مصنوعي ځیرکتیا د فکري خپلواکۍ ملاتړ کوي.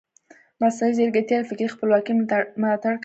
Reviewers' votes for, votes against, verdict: 1, 2, rejected